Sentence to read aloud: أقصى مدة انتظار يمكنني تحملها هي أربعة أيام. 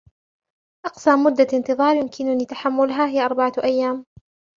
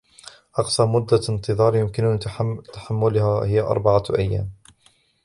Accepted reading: first